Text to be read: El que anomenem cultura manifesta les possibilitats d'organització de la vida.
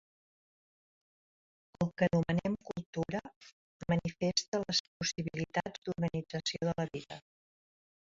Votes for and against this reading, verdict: 1, 2, rejected